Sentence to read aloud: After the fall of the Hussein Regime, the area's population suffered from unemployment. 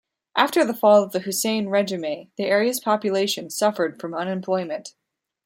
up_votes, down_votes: 1, 2